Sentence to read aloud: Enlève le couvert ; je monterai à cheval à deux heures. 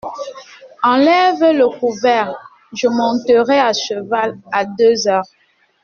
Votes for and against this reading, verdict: 2, 0, accepted